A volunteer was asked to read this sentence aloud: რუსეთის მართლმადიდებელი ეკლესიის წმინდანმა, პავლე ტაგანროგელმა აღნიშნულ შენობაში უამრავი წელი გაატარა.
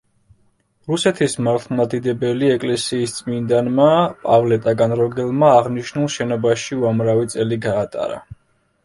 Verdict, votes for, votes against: rejected, 1, 2